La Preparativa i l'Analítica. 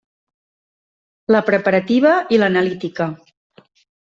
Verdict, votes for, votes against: accepted, 3, 0